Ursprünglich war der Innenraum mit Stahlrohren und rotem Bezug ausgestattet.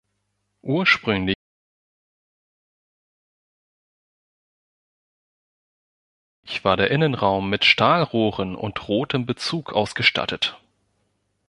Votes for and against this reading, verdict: 1, 2, rejected